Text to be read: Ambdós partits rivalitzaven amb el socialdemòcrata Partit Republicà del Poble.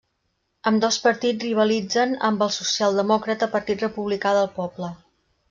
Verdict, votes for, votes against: rejected, 0, 2